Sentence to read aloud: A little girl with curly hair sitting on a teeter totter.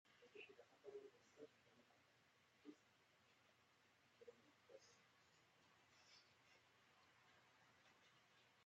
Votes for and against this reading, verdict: 0, 2, rejected